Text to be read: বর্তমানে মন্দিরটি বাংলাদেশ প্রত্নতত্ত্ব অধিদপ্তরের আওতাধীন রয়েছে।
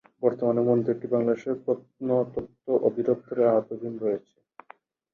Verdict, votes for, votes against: rejected, 4, 6